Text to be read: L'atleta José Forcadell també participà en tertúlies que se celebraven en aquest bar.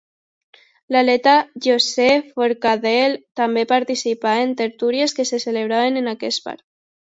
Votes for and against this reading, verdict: 1, 2, rejected